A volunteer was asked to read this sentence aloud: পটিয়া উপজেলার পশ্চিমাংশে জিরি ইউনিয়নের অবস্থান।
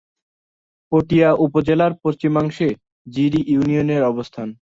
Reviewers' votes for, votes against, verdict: 2, 0, accepted